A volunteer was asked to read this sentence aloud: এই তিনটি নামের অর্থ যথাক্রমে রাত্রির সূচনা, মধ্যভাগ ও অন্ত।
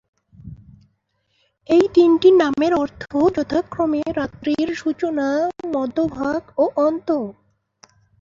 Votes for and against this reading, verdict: 11, 3, accepted